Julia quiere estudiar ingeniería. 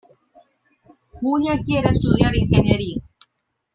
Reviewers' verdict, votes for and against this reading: rejected, 1, 2